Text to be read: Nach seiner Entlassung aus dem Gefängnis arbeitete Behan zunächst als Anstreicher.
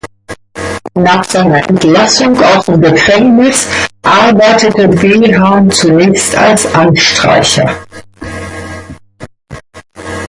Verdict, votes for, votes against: accepted, 2, 0